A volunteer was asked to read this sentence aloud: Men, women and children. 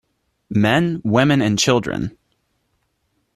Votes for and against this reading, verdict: 2, 0, accepted